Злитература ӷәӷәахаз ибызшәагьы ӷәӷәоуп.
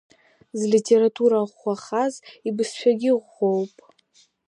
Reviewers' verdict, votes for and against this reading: accepted, 3, 0